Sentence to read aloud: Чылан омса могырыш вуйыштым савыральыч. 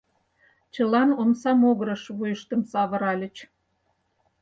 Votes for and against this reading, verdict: 4, 0, accepted